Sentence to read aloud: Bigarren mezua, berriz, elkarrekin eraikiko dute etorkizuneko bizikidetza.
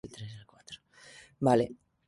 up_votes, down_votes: 0, 3